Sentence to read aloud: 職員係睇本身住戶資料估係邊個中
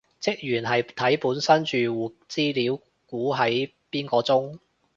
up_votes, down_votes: 0, 2